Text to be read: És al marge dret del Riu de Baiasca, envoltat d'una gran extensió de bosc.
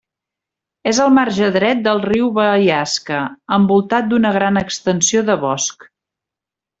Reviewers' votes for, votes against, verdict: 0, 2, rejected